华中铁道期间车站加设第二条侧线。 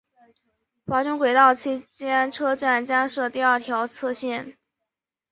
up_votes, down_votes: 1, 2